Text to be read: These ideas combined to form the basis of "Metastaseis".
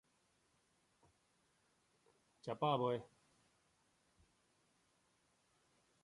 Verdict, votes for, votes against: rejected, 0, 2